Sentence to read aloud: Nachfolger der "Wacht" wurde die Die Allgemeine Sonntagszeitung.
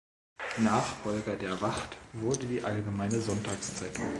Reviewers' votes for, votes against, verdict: 1, 2, rejected